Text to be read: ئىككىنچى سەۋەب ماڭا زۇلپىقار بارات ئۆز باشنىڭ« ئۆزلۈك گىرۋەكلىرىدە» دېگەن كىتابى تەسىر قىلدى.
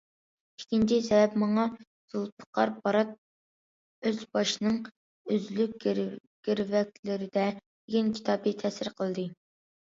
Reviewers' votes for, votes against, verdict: 0, 2, rejected